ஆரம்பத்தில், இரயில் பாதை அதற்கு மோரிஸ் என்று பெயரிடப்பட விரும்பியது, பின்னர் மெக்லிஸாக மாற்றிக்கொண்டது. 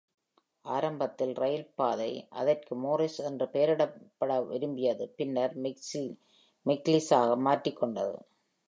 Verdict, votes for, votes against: rejected, 0, 2